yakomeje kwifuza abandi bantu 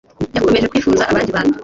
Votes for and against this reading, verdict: 2, 0, accepted